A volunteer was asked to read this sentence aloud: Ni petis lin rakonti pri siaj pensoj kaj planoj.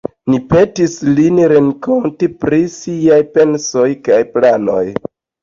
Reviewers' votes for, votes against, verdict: 1, 2, rejected